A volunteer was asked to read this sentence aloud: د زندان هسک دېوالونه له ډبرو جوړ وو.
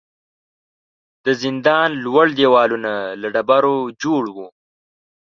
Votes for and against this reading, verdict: 1, 2, rejected